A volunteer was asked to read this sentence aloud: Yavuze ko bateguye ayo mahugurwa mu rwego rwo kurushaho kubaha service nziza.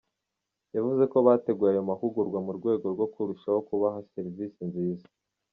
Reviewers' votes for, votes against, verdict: 2, 1, accepted